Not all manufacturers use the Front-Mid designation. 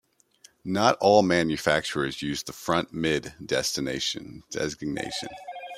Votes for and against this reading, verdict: 0, 2, rejected